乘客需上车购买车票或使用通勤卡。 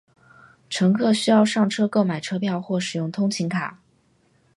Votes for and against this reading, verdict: 4, 0, accepted